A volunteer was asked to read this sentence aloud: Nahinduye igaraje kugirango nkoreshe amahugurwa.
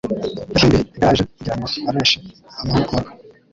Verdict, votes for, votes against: rejected, 0, 2